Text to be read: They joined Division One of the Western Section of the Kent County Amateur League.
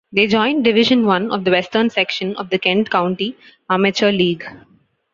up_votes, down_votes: 3, 0